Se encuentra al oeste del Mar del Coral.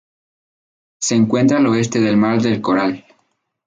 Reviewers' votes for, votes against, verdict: 2, 0, accepted